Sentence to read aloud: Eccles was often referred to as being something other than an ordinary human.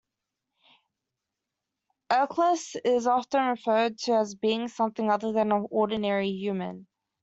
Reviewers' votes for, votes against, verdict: 1, 2, rejected